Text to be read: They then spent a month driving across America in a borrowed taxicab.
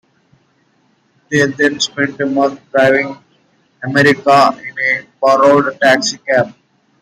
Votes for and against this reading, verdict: 1, 2, rejected